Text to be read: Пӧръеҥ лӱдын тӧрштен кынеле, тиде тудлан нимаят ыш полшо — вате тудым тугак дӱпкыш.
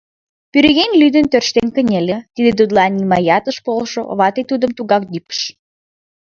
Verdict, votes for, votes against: rejected, 2, 3